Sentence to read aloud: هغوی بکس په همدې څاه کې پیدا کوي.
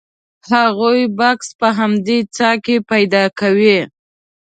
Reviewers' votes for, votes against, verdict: 2, 0, accepted